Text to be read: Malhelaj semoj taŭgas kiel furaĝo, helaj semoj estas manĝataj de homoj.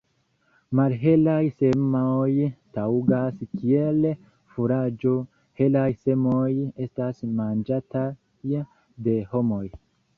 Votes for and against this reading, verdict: 2, 0, accepted